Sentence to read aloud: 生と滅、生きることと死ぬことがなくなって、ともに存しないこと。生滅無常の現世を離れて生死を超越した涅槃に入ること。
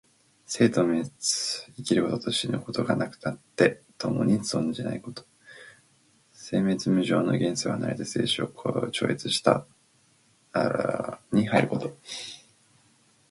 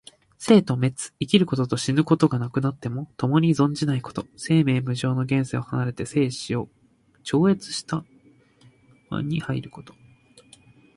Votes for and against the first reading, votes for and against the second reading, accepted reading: 0, 4, 2, 0, second